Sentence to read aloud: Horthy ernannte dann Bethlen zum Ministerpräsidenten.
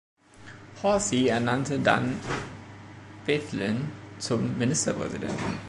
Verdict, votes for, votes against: rejected, 1, 3